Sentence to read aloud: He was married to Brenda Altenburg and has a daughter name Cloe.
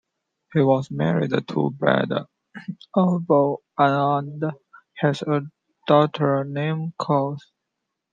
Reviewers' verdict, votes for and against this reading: rejected, 0, 2